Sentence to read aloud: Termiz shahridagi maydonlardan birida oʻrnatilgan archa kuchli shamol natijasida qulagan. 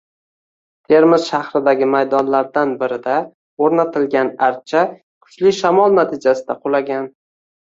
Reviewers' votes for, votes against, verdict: 2, 0, accepted